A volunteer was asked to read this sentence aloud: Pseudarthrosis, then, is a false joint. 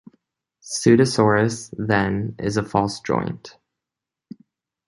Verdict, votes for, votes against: rejected, 1, 2